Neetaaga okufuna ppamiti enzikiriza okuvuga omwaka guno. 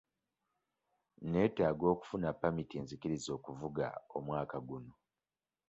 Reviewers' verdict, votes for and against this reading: rejected, 1, 2